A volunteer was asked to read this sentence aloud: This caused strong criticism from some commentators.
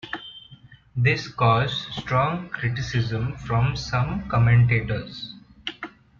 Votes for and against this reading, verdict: 2, 0, accepted